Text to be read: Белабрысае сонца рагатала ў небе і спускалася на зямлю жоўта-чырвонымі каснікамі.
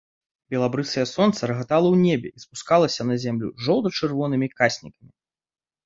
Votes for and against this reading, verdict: 2, 1, accepted